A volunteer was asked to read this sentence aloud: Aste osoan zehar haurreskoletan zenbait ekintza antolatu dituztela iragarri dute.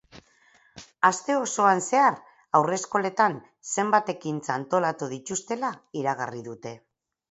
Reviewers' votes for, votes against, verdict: 2, 0, accepted